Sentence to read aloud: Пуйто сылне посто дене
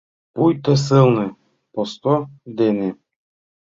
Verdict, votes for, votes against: accepted, 2, 0